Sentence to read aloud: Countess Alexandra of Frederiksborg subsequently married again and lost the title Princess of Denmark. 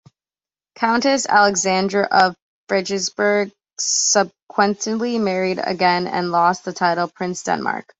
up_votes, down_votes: 1, 2